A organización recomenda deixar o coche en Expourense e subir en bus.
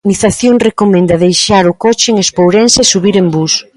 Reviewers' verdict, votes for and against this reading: rejected, 1, 2